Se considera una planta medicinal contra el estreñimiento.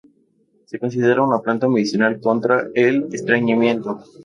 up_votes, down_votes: 2, 0